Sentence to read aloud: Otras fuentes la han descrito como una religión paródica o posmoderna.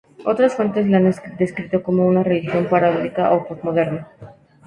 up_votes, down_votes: 2, 2